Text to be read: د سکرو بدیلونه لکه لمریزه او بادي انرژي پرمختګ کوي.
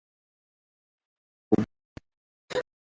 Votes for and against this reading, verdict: 0, 2, rejected